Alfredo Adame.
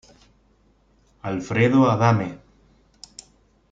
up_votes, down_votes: 2, 0